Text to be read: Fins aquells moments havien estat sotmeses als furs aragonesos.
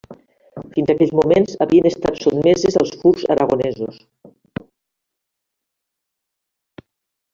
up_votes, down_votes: 0, 2